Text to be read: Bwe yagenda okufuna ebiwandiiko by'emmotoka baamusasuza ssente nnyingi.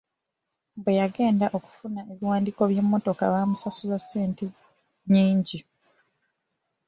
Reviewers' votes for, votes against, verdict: 2, 0, accepted